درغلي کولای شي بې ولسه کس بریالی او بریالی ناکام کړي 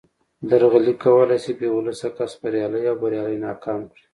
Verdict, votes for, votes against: accepted, 2, 0